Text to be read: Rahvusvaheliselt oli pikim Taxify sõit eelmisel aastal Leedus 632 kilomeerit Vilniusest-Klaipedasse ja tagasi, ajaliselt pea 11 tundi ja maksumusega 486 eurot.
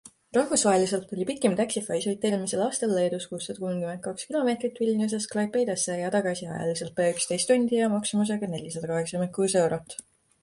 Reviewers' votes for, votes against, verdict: 0, 2, rejected